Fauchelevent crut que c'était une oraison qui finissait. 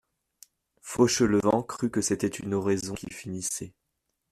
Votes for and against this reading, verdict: 2, 0, accepted